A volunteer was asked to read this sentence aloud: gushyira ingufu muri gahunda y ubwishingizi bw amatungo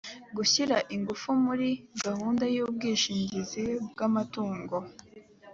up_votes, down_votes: 2, 0